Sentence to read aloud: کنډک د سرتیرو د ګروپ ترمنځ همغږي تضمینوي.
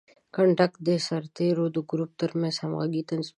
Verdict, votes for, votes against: rejected, 0, 2